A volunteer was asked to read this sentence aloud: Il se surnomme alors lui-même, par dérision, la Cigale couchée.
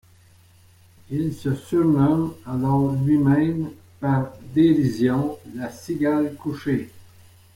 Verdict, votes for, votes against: rejected, 1, 2